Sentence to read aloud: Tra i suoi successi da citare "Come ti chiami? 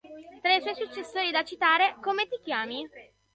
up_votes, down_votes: 0, 2